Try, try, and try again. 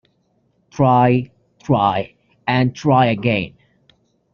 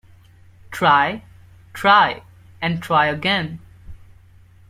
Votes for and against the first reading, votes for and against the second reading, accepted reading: 1, 2, 2, 0, second